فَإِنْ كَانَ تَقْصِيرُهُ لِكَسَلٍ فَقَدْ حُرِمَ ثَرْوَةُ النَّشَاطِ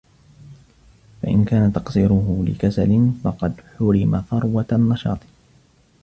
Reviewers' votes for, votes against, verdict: 1, 2, rejected